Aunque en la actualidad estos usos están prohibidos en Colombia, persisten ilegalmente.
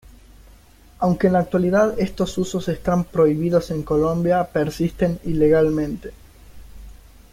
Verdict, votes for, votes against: accepted, 2, 0